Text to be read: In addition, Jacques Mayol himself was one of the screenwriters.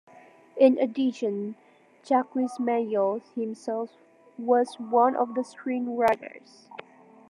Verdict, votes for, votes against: rejected, 1, 2